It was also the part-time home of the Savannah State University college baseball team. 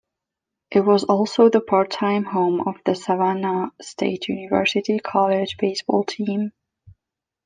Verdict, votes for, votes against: accepted, 2, 0